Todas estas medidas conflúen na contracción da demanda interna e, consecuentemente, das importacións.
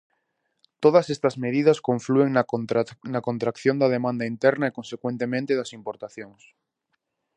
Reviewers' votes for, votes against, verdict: 0, 2, rejected